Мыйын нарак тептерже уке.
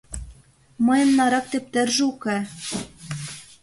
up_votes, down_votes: 2, 0